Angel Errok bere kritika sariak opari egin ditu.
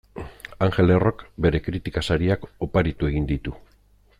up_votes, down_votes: 1, 2